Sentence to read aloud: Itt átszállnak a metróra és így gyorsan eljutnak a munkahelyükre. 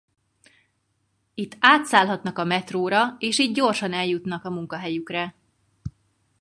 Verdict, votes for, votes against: rejected, 0, 4